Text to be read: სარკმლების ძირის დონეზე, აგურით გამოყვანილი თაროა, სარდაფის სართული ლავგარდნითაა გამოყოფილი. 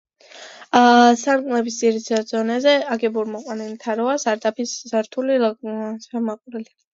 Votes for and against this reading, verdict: 2, 1, accepted